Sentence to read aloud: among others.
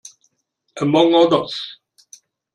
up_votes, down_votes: 2, 1